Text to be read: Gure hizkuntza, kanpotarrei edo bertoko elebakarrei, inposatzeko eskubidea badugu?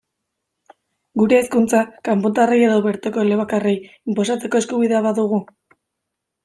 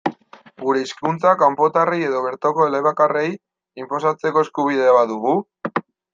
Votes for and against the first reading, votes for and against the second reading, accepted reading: 2, 1, 1, 2, first